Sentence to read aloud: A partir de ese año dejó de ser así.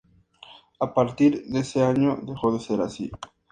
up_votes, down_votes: 2, 0